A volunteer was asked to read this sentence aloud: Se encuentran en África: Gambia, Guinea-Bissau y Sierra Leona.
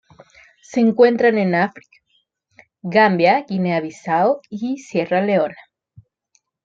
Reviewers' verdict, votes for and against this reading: rejected, 1, 2